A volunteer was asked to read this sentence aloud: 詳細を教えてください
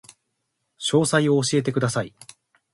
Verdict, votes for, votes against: rejected, 1, 2